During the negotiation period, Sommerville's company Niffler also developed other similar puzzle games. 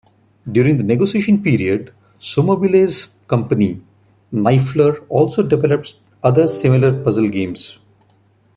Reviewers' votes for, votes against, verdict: 1, 2, rejected